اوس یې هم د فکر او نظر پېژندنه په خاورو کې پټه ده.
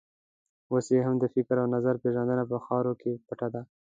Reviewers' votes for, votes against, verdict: 2, 0, accepted